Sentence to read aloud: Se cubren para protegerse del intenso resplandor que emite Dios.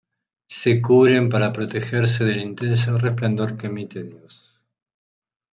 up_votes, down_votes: 2, 1